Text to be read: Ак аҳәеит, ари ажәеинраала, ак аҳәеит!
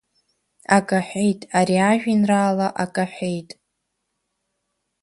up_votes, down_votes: 2, 0